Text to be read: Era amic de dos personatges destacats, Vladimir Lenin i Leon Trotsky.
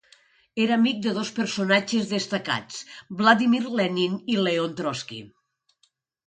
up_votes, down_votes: 2, 0